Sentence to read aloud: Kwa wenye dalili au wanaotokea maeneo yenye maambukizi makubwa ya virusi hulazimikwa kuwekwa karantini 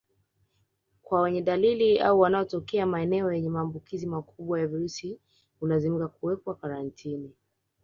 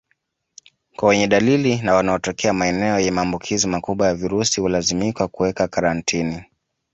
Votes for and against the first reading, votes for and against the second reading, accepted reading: 4, 0, 0, 2, first